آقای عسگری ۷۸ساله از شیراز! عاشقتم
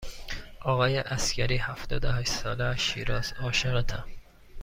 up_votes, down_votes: 0, 2